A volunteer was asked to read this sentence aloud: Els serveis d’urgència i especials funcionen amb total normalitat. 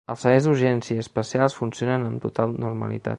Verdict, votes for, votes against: accepted, 2, 0